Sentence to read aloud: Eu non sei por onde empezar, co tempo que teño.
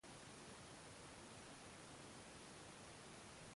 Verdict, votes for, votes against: rejected, 0, 2